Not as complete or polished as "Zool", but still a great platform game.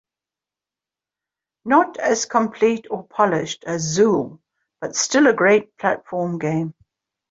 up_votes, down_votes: 1, 2